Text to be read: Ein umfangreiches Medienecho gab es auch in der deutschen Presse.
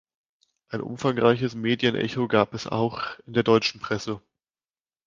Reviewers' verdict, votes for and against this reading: accepted, 2, 0